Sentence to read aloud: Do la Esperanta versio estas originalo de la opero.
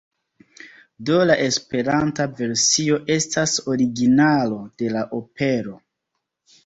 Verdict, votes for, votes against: accepted, 3, 0